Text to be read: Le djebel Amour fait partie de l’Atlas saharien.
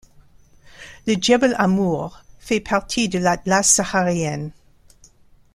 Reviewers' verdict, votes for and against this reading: accepted, 2, 0